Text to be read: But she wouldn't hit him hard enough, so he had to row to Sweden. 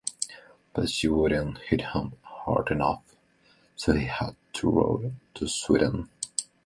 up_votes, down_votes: 2, 0